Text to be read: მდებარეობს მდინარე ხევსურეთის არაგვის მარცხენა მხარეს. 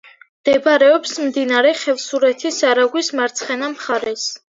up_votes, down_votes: 2, 0